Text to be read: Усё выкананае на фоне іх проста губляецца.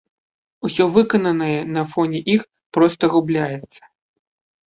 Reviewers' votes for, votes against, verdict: 2, 0, accepted